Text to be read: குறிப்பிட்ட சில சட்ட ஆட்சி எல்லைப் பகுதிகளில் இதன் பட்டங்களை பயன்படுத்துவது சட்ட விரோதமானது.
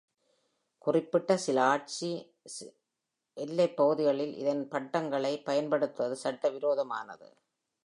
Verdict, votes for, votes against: rejected, 0, 2